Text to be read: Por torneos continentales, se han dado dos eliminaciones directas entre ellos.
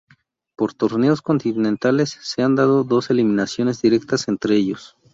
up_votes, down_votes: 4, 0